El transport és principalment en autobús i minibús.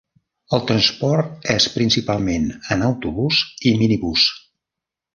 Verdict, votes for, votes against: accepted, 3, 0